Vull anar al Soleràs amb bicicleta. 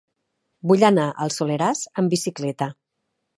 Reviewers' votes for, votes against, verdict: 4, 0, accepted